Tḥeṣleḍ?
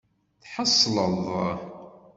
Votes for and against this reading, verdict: 2, 0, accepted